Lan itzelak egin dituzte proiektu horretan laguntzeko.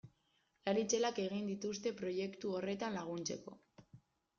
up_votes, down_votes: 2, 0